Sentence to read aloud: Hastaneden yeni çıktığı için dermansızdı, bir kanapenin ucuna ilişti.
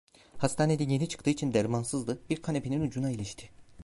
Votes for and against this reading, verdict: 0, 2, rejected